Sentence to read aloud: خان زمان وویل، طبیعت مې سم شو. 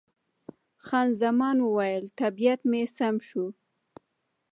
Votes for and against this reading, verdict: 1, 2, rejected